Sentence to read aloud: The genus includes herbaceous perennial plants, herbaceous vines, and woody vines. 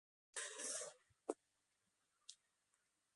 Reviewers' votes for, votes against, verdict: 0, 2, rejected